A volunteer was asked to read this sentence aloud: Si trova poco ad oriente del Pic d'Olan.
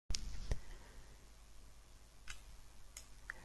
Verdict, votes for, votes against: rejected, 0, 2